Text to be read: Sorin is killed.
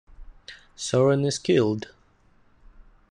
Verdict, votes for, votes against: accepted, 2, 0